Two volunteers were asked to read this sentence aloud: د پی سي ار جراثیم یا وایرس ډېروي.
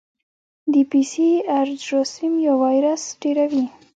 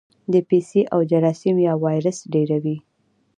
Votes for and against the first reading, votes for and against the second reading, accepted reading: 2, 1, 1, 2, first